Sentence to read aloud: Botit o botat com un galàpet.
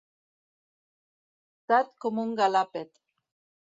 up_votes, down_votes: 0, 2